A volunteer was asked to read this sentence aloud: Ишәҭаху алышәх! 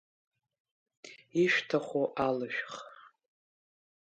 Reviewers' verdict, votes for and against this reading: rejected, 0, 2